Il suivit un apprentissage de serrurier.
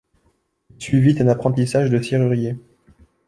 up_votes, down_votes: 1, 2